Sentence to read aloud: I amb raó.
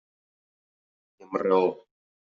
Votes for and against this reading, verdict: 0, 2, rejected